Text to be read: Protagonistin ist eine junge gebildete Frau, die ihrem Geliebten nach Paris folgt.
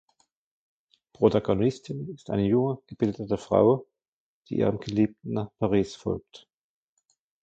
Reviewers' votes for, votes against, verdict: 1, 2, rejected